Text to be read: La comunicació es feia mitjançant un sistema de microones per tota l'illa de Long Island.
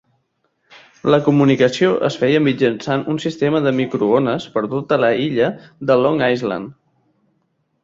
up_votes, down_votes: 2, 4